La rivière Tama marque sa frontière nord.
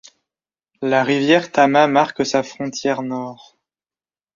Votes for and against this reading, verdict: 2, 0, accepted